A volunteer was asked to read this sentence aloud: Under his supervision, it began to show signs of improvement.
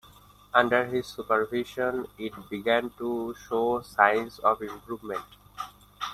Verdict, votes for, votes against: accepted, 2, 0